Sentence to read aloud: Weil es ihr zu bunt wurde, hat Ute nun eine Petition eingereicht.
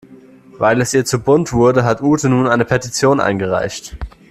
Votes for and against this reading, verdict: 2, 0, accepted